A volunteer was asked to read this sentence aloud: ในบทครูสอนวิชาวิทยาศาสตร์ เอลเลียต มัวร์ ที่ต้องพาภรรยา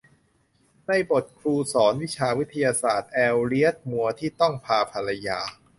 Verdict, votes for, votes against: accepted, 2, 0